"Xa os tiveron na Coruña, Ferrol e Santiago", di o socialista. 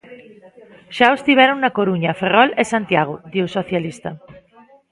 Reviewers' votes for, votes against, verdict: 0, 2, rejected